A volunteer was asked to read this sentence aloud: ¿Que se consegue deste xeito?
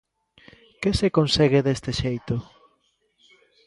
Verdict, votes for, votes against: accepted, 2, 0